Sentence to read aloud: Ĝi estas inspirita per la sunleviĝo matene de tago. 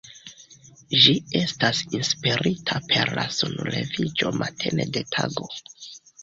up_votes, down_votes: 2, 0